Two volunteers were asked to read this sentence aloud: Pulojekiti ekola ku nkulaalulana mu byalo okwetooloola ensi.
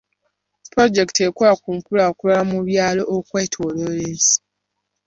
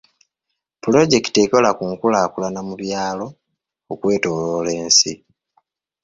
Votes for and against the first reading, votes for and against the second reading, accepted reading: 0, 2, 2, 1, second